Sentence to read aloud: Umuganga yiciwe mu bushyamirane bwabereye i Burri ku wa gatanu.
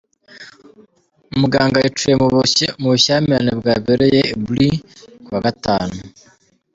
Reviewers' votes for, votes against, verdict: 1, 2, rejected